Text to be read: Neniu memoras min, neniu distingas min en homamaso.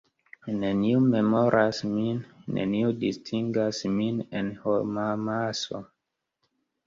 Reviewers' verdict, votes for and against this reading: accepted, 2, 0